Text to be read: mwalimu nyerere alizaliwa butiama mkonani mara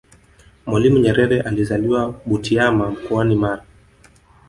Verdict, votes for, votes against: rejected, 1, 2